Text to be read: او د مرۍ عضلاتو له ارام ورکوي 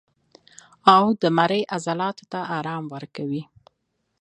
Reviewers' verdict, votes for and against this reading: accepted, 2, 0